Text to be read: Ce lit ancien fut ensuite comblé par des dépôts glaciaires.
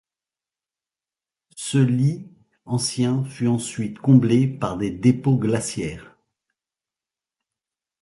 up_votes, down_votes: 2, 0